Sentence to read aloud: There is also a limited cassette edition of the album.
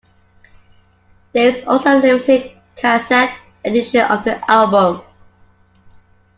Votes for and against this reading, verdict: 2, 1, accepted